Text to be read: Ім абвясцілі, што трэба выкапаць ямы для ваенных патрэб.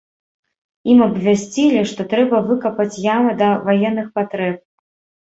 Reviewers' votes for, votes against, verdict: 0, 2, rejected